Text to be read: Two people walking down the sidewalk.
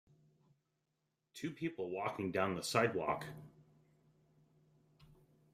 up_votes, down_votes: 3, 0